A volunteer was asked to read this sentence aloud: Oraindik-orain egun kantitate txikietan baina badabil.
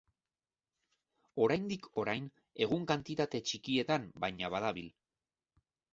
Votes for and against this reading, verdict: 2, 0, accepted